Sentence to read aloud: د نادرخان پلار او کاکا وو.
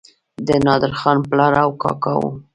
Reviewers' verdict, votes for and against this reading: accepted, 2, 0